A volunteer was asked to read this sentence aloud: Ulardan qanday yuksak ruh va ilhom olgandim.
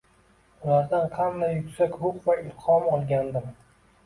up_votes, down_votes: 2, 0